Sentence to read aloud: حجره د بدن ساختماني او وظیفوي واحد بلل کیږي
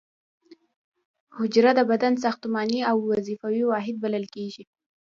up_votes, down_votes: 2, 0